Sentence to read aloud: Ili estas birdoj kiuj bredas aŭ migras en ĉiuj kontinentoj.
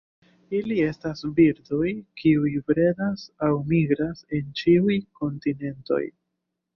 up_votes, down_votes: 2, 0